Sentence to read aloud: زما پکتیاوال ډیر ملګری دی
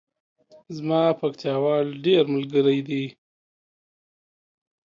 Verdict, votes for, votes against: accepted, 2, 0